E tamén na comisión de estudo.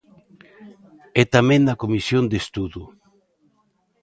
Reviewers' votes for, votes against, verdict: 2, 0, accepted